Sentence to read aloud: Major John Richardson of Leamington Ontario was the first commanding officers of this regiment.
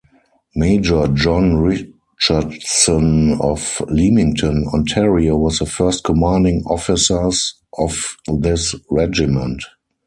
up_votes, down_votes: 0, 4